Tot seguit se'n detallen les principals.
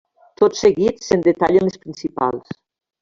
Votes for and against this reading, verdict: 2, 1, accepted